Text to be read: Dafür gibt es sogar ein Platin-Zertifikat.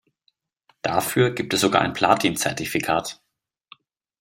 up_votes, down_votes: 2, 0